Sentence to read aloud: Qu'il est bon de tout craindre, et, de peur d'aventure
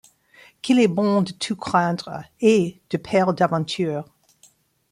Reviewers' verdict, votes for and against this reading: accepted, 2, 0